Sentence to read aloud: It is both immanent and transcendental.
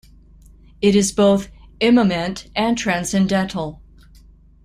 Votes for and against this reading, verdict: 1, 2, rejected